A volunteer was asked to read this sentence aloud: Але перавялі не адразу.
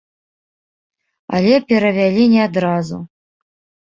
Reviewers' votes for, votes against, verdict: 2, 0, accepted